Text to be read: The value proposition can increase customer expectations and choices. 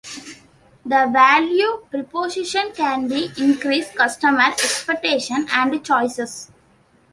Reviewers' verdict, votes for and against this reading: rejected, 1, 2